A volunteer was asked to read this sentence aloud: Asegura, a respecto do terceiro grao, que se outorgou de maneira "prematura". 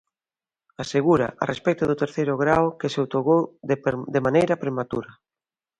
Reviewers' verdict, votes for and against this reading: rejected, 0, 2